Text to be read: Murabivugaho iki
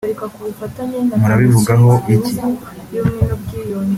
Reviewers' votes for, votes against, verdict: 1, 2, rejected